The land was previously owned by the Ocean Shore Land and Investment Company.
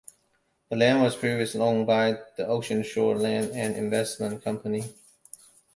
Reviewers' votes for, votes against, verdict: 2, 0, accepted